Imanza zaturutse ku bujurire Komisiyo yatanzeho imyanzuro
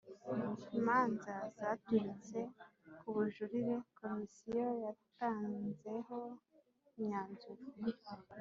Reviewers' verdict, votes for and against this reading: rejected, 1, 2